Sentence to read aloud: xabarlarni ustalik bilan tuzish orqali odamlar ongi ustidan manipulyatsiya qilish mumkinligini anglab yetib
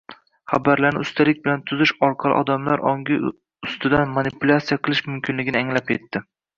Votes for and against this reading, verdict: 1, 2, rejected